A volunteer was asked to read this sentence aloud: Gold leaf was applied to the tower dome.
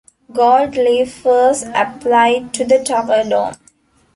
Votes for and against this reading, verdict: 0, 2, rejected